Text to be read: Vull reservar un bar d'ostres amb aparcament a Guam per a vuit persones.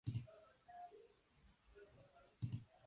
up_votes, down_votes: 0, 4